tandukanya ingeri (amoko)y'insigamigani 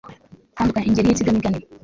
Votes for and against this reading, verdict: 1, 2, rejected